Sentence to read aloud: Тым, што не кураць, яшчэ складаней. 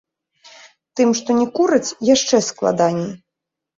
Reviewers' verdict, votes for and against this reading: accepted, 2, 1